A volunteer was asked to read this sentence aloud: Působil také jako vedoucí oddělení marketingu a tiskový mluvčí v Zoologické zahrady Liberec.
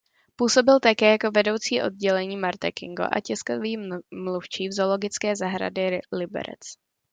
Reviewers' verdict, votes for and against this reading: rejected, 0, 2